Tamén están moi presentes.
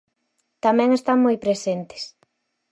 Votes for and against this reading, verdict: 4, 0, accepted